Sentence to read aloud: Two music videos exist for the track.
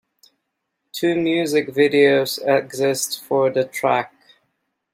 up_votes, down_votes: 2, 0